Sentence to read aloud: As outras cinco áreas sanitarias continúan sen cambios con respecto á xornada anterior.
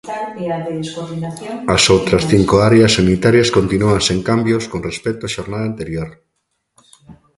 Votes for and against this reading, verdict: 1, 2, rejected